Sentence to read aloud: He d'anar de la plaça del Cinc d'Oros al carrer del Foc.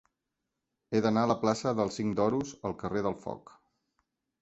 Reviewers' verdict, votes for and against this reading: rejected, 2, 4